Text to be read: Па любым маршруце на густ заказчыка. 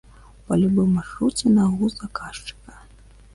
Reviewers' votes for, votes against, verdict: 1, 2, rejected